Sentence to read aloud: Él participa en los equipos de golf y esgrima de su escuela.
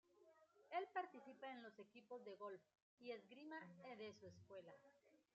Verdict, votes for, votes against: rejected, 0, 2